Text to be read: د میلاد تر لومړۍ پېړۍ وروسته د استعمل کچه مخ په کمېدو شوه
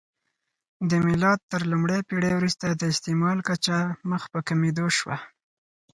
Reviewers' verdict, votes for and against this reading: accepted, 4, 0